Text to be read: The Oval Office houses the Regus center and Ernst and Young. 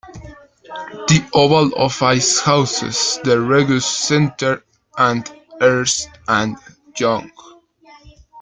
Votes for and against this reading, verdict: 1, 2, rejected